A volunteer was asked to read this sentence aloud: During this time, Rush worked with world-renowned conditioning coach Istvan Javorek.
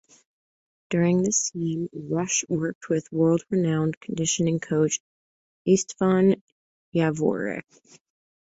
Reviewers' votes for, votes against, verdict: 1, 2, rejected